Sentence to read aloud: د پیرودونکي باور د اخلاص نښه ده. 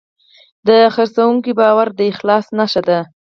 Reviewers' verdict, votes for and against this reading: accepted, 4, 2